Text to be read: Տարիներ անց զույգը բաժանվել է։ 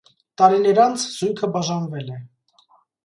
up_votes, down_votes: 2, 0